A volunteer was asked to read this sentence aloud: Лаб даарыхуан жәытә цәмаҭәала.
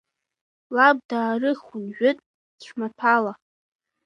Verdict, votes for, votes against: accepted, 2, 1